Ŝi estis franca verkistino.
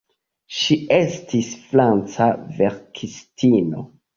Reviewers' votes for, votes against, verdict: 2, 1, accepted